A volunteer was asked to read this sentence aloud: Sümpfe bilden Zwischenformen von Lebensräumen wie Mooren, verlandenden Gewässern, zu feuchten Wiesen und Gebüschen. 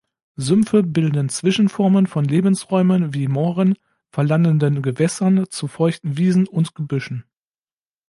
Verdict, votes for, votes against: accepted, 2, 0